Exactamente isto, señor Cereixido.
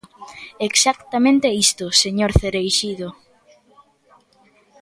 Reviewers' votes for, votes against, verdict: 2, 0, accepted